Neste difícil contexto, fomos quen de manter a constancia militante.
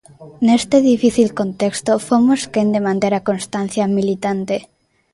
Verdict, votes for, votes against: accepted, 2, 0